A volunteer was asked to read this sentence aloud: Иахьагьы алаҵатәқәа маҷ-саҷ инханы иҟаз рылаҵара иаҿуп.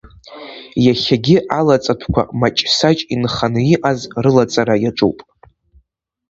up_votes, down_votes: 2, 0